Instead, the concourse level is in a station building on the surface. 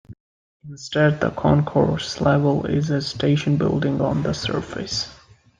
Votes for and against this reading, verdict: 2, 0, accepted